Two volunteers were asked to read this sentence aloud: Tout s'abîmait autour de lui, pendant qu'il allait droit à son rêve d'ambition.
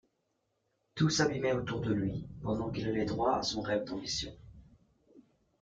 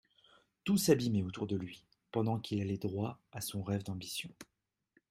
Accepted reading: second